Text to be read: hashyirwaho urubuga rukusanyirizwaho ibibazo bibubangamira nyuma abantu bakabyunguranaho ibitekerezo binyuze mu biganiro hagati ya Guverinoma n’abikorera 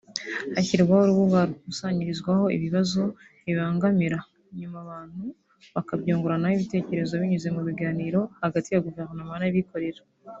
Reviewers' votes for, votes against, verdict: 1, 2, rejected